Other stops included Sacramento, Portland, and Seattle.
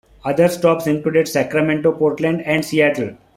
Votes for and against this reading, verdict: 2, 0, accepted